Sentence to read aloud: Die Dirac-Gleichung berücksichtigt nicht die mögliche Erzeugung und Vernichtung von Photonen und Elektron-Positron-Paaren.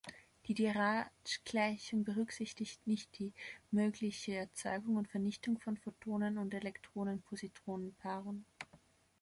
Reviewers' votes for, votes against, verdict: 0, 2, rejected